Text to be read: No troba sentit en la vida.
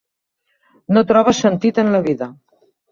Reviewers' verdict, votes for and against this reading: accepted, 2, 0